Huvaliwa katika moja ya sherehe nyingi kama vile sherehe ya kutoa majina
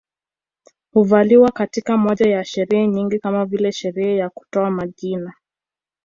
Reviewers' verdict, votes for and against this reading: accepted, 2, 0